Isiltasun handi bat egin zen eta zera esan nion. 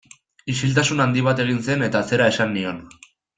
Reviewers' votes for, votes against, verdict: 2, 0, accepted